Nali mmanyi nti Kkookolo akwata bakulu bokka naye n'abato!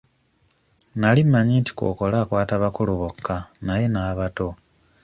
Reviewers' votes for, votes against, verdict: 2, 0, accepted